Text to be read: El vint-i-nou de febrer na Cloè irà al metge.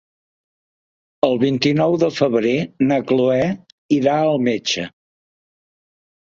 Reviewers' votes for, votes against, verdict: 3, 0, accepted